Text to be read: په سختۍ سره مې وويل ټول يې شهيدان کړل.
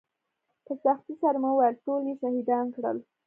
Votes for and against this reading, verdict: 2, 0, accepted